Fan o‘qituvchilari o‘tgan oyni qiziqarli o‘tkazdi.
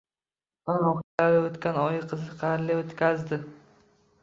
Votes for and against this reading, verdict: 0, 2, rejected